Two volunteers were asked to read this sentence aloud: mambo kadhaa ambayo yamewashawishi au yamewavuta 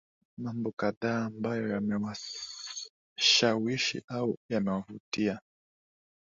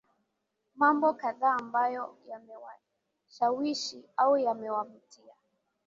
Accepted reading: second